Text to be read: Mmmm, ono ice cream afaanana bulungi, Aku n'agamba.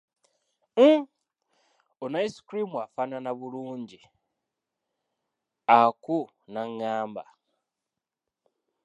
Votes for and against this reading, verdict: 0, 2, rejected